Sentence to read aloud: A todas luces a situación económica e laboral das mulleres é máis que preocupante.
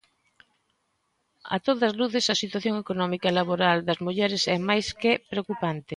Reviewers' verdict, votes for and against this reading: accepted, 2, 0